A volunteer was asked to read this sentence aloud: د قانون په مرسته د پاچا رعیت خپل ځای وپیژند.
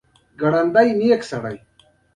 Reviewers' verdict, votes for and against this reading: accepted, 2, 1